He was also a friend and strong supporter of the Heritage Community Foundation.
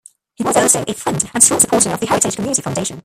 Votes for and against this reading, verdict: 0, 2, rejected